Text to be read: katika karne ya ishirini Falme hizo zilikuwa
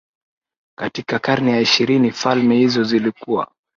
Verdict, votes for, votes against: rejected, 0, 2